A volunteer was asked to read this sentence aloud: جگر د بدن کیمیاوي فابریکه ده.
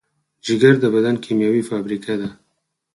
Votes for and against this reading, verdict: 2, 4, rejected